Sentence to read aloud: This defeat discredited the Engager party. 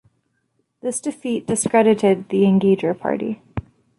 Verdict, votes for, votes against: accepted, 2, 0